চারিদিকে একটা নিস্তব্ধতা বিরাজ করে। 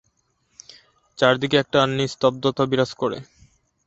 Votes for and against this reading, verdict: 2, 0, accepted